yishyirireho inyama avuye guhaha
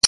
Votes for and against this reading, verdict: 0, 2, rejected